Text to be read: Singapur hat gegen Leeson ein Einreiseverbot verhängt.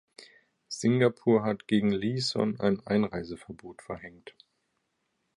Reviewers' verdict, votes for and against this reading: accepted, 2, 0